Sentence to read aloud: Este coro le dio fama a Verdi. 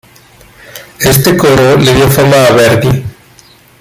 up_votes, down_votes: 2, 0